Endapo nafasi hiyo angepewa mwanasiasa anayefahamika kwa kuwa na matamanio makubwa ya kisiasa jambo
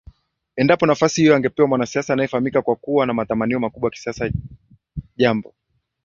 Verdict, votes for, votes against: accepted, 2, 0